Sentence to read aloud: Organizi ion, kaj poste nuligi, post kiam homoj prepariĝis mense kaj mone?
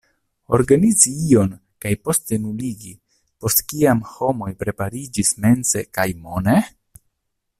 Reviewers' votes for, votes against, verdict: 1, 2, rejected